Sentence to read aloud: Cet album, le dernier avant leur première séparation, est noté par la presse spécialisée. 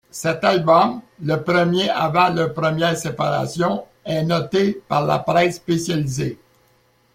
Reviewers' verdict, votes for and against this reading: rejected, 0, 2